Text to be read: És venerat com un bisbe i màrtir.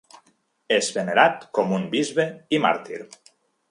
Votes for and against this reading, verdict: 3, 0, accepted